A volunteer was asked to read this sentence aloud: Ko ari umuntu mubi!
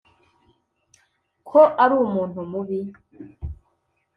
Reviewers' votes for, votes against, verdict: 2, 0, accepted